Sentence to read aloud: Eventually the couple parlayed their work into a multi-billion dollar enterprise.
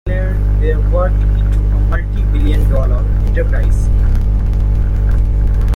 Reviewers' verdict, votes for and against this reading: rejected, 0, 2